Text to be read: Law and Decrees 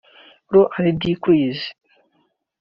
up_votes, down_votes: 2, 0